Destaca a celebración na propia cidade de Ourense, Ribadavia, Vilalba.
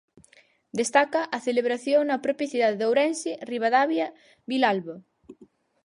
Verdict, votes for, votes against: accepted, 4, 0